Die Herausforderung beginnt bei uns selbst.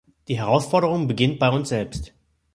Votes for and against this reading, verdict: 2, 0, accepted